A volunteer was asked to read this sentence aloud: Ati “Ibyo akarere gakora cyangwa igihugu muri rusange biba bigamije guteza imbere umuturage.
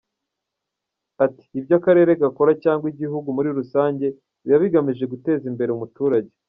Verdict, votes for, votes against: accepted, 2, 0